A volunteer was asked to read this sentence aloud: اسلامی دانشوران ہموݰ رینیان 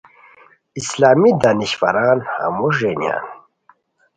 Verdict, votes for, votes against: accepted, 2, 0